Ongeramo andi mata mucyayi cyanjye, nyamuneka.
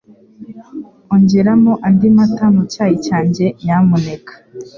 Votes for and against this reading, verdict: 3, 0, accepted